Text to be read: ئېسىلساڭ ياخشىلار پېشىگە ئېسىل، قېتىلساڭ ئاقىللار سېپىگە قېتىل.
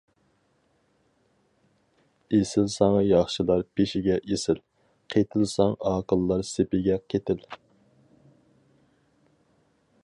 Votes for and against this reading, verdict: 4, 0, accepted